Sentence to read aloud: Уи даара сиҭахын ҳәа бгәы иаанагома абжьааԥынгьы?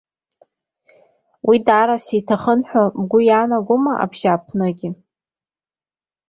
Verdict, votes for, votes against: accepted, 2, 0